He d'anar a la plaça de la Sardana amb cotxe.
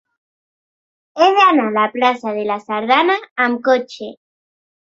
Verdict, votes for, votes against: accepted, 2, 0